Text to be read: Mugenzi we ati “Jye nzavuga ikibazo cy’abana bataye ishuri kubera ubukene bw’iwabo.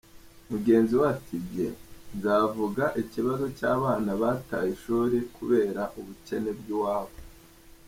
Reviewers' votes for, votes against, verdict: 2, 0, accepted